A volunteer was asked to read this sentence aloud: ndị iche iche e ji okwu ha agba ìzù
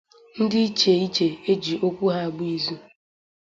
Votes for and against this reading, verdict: 2, 0, accepted